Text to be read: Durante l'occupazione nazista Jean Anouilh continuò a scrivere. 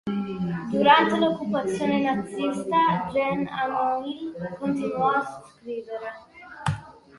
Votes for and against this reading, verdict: 2, 1, accepted